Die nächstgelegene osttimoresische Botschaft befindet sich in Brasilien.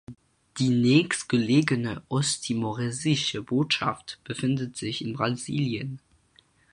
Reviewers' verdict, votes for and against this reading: accepted, 4, 2